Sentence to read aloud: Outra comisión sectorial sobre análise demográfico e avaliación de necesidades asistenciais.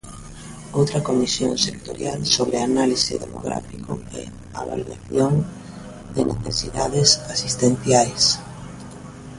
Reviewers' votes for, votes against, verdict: 0, 2, rejected